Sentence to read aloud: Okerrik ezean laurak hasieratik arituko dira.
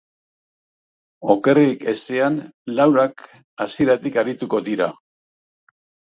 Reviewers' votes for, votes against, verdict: 2, 0, accepted